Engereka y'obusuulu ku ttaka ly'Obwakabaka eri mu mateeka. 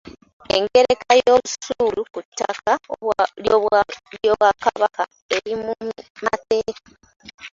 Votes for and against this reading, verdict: 0, 3, rejected